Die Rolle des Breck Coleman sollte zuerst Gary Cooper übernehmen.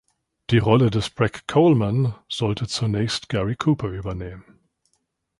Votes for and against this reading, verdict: 1, 2, rejected